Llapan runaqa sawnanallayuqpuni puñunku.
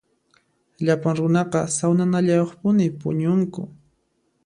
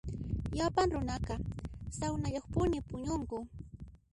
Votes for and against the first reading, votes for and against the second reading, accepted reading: 2, 0, 0, 2, first